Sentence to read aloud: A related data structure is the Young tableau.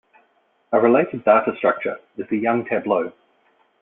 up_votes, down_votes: 2, 1